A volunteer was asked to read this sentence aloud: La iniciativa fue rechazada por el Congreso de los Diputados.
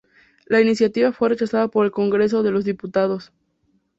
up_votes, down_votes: 2, 0